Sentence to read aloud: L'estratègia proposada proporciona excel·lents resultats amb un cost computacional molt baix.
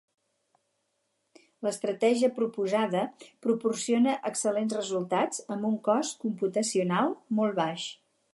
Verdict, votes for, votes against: accepted, 6, 0